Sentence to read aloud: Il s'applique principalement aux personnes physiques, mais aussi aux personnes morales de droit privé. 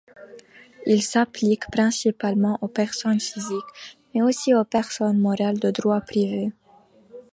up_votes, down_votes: 3, 0